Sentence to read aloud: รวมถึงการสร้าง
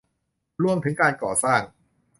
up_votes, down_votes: 1, 2